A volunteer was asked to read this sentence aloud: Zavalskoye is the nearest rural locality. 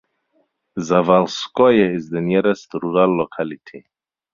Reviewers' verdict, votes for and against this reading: accepted, 4, 0